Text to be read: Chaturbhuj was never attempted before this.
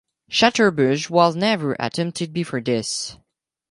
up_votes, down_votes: 4, 0